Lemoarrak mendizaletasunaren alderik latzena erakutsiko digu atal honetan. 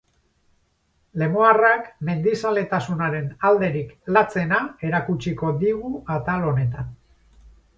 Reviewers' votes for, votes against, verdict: 4, 0, accepted